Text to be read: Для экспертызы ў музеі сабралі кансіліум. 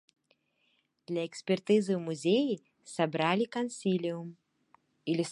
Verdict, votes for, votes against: rejected, 1, 2